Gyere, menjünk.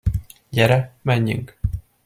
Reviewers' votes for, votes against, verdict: 2, 0, accepted